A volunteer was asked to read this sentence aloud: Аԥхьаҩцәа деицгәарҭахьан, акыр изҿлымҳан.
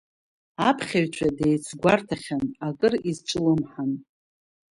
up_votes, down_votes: 3, 0